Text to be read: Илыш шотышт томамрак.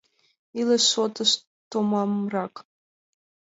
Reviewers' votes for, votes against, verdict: 2, 0, accepted